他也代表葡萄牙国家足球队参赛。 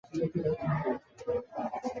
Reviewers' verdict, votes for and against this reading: rejected, 0, 2